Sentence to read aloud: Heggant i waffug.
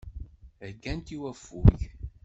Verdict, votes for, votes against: accepted, 2, 1